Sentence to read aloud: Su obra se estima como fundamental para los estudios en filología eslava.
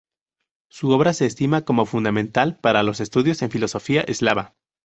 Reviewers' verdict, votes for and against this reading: rejected, 2, 2